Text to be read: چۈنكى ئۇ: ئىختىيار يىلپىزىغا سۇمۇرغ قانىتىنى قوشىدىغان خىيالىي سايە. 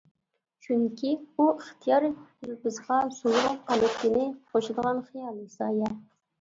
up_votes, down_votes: 0, 2